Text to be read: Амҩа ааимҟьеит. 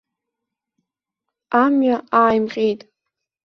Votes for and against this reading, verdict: 2, 0, accepted